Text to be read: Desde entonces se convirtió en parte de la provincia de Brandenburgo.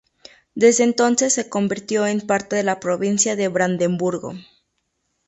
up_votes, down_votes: 0, 2